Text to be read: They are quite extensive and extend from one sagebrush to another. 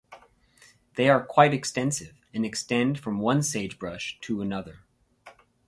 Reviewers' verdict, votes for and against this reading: accepted, 4, 0